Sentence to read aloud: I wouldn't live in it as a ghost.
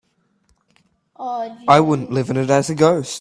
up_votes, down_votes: 1, 2